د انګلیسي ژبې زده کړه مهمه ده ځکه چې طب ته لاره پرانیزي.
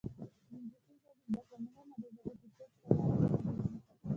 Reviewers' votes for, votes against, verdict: 1, 2, rejected